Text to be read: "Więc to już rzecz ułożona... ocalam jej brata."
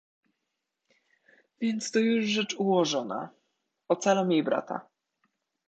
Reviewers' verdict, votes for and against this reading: accepted, 2, 0